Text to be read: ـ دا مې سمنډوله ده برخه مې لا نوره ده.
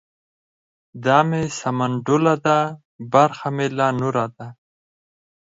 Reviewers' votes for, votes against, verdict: 6, 0, accepted